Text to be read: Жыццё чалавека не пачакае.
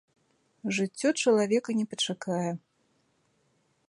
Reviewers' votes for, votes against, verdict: 2, 0, accepted